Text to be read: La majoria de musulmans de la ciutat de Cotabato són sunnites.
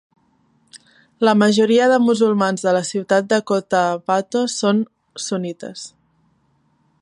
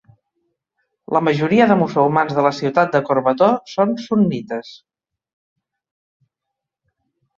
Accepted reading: first